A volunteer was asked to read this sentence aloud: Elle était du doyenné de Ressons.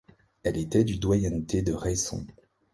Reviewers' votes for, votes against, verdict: 1, 2, rejected